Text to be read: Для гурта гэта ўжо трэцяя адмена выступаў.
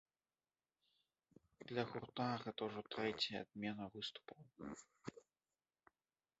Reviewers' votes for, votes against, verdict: 1, 2, rejected